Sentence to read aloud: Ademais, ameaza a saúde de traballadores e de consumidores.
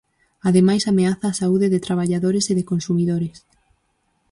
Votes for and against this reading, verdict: 4, 0, accepted